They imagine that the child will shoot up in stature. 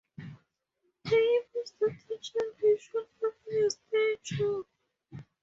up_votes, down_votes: 0, 2